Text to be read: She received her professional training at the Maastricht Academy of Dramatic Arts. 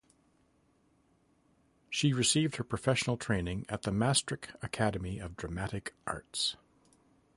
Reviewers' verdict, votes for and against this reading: accepted, 2, 0